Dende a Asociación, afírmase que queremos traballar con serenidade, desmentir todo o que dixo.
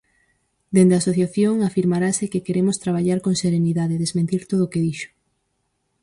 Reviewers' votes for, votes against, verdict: 2, 4, rejected